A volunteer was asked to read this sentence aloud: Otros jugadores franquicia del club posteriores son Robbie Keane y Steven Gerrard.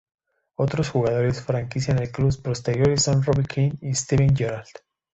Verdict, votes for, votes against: accepted, 2, 0